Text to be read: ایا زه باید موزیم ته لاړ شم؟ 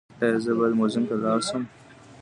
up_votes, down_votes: 2, 1